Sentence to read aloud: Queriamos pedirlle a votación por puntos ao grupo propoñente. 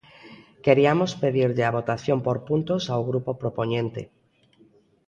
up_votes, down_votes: 2, 0